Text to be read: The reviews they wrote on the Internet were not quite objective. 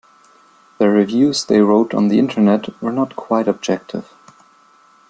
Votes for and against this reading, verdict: 2, 1, accepted